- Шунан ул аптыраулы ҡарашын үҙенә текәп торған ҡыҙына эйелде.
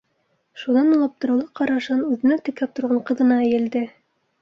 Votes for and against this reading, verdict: 2, 0, accepted